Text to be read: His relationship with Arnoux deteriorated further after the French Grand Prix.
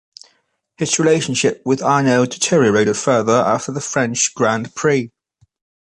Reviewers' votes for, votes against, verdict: 2, 1, accepted